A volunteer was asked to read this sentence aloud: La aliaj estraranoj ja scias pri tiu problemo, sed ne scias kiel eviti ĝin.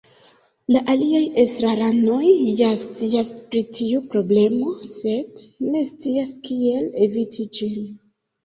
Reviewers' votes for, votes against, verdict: 2, 0, accepted